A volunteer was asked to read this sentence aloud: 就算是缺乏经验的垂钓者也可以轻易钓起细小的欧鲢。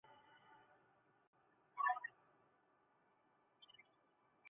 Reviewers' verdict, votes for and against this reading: rejected, 0, 2